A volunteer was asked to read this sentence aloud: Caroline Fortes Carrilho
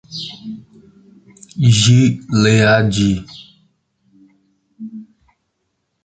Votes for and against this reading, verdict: 0, 2, rejected